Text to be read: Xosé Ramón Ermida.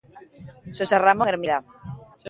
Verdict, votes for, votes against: rejected, 0, 2